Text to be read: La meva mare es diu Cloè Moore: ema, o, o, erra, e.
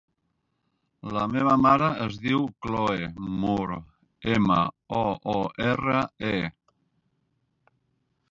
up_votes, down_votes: 3, 4